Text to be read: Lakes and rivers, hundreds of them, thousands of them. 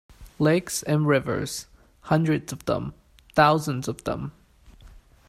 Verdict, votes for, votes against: accepted, 2, 0